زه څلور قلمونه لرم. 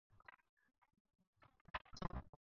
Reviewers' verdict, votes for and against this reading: rejected, 2, 4